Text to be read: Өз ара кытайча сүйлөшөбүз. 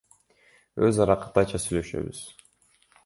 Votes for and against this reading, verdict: 2, 0, accepted